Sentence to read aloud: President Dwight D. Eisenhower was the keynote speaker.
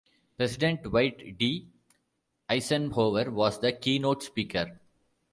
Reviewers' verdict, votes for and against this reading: accepted, 2, 0